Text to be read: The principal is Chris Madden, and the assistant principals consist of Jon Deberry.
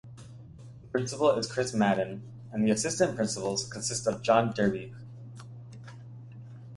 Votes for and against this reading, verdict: 1, 2, rejected